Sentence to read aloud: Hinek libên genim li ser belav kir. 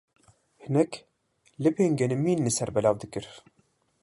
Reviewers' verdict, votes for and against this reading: rejected, 0, 2